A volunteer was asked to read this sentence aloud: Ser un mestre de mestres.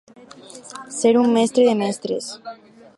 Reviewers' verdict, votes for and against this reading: accepted, 4, 0